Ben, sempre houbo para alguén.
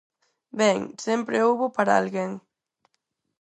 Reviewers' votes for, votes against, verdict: 4, 0, accepted